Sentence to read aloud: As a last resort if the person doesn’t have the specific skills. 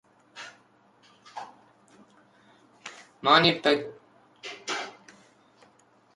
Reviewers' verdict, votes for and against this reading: rejected, 0, 2